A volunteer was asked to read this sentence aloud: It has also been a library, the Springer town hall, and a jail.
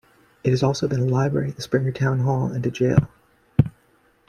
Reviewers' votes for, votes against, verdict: 1, 2, rejected